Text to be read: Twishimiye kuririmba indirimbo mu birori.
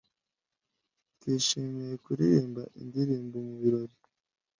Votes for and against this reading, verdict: 2, 0, accepted